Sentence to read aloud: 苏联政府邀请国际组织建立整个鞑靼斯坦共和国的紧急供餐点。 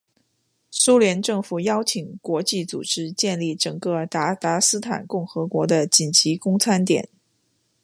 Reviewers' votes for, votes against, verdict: 2, 0, accepted